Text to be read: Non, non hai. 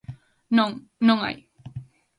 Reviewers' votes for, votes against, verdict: 2, 0, accepted